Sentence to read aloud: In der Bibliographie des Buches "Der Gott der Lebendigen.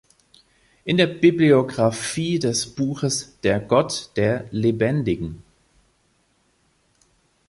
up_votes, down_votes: 2, 1